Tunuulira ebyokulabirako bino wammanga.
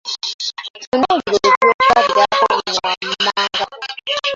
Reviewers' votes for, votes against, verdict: 1, 2, rejected